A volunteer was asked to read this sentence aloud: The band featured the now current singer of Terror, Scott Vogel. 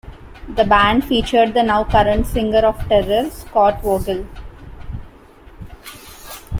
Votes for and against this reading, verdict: 0, 2, rejected